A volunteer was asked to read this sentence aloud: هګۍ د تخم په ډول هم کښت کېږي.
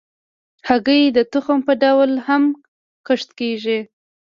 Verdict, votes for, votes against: rejected, 1, 2